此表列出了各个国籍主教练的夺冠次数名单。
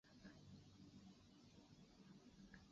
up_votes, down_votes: 0, 2